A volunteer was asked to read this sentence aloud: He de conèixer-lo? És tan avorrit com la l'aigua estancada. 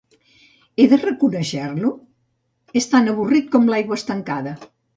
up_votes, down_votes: 0, 2